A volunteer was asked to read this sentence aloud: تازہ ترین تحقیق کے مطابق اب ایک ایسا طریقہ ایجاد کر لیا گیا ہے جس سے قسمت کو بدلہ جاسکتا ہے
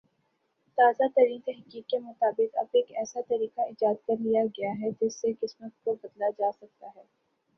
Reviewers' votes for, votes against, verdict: 1, 2, rejected